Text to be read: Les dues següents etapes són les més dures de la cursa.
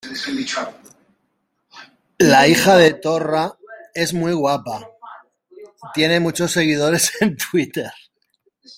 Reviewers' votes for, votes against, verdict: 0, 2, rejected